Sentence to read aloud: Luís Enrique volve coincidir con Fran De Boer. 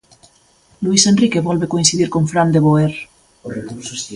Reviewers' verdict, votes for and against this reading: accepted, 2, 0